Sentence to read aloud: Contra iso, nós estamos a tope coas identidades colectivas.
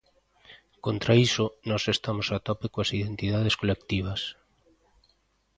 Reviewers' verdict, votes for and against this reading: accepted, 2, 0